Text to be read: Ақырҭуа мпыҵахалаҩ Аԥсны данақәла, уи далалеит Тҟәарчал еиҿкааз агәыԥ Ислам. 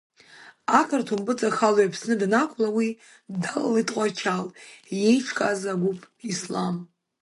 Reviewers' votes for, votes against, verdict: 2, 1, accepted